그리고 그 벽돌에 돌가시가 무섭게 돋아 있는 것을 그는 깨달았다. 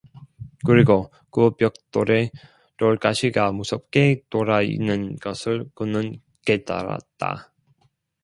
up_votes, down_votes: 0, 2